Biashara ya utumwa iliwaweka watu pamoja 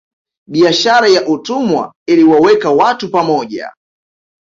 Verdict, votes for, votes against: accepted, 2, 1